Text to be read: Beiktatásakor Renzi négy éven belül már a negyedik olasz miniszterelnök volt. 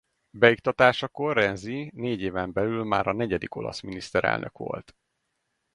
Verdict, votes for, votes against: rejected, 2, 2